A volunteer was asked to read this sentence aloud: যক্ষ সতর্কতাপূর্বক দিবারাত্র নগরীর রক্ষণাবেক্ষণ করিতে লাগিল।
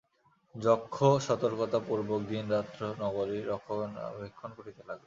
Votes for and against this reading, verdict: 1, 2, rejected